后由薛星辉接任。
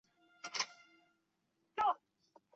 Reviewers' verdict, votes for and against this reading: rejected, 0, 3